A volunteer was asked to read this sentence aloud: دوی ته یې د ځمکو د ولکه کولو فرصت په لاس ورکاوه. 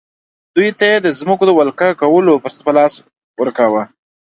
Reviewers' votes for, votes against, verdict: 2, 0, accepted